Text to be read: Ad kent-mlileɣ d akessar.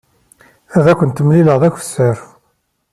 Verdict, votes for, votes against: accepted, 2, 0